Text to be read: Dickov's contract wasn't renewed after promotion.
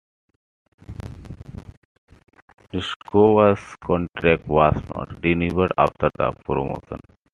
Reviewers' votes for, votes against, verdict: 0, 2, rejected